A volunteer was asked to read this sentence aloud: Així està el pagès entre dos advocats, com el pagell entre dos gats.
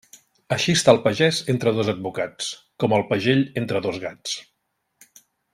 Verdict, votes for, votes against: accepted, 3, 0